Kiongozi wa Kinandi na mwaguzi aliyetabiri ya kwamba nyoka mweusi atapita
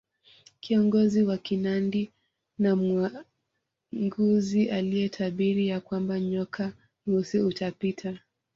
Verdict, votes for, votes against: rejected, 0, 2